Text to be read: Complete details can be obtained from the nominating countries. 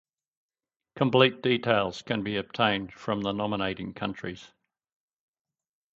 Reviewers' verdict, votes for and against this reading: accepted, 10, 0